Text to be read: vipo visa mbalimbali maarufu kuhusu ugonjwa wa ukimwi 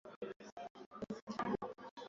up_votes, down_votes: 0, 2